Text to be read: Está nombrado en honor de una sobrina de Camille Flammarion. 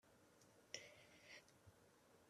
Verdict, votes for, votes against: rejected, 0, 2